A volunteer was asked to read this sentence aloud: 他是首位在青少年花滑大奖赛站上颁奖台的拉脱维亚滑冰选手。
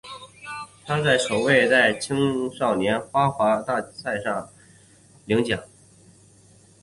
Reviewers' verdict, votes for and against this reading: rejected, 0, 2